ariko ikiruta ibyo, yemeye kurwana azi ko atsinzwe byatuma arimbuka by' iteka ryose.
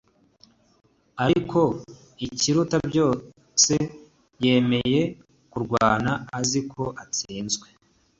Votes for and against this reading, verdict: 1, 2, rejected